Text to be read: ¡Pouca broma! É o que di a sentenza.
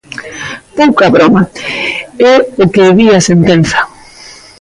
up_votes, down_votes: 1, 2